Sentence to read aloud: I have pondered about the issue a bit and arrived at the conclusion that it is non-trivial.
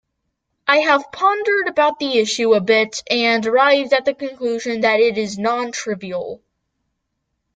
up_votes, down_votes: 2, 0